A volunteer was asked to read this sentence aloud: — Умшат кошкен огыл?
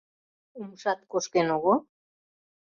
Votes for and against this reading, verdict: 2, 0, accepted